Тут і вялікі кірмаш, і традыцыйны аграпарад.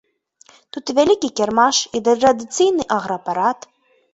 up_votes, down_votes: 0, 2